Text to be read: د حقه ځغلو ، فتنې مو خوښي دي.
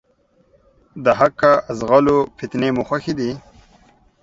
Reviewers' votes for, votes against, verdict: 2, 0, accepted